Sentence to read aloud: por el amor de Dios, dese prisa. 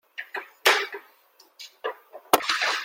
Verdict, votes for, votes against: rejected, 0, 2